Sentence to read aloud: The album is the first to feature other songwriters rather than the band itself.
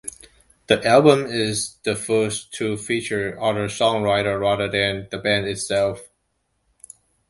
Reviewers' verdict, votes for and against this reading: accepted, 2, 0